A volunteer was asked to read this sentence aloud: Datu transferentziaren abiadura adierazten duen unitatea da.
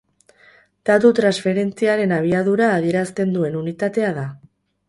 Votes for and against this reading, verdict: 2, 2, rejected